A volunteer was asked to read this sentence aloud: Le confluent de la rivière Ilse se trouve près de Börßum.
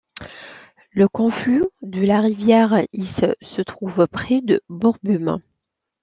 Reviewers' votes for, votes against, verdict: 0, 2, rejected